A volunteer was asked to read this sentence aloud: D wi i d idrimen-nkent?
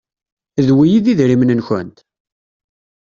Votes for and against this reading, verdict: 2, 0, accepted